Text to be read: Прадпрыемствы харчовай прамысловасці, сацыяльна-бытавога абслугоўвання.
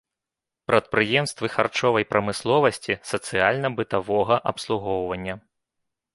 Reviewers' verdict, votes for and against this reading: rejected, 1, 2